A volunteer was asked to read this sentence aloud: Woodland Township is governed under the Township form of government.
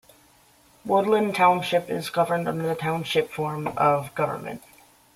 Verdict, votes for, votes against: accepted, 2, 0